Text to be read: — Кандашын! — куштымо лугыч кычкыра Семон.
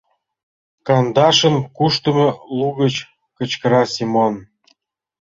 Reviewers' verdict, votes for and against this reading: accepted, 2, 1